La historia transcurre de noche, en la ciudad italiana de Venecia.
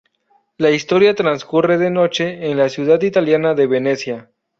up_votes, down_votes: 2, 0